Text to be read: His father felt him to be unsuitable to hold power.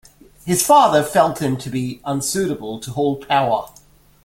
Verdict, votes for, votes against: accepted, 2, 0